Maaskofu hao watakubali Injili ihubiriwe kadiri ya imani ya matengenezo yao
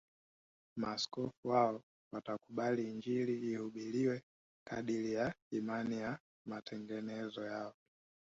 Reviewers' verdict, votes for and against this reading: accepted, 2, 0